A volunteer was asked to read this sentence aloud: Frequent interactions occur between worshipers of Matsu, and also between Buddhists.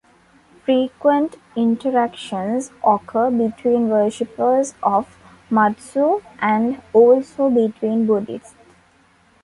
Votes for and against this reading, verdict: 2, 0, accepted